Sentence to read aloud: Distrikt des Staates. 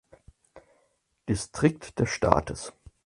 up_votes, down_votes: 4, 0